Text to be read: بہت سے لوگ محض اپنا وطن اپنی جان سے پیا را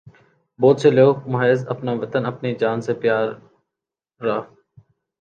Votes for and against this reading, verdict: 1, 2, rejected